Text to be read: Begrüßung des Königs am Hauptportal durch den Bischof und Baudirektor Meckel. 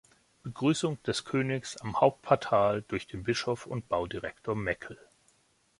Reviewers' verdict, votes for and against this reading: accepted, 2, 0